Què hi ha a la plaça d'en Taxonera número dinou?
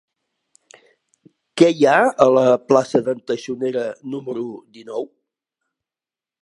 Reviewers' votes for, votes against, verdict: 4, 0, accepted